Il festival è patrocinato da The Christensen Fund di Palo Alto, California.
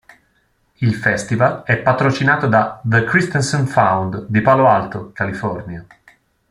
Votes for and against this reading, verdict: 1, 2, rejected